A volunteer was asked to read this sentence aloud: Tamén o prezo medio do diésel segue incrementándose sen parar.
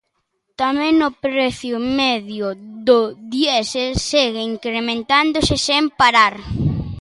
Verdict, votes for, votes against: rejected, 1, 2